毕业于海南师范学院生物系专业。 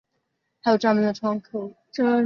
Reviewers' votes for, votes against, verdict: 0, 2, rejected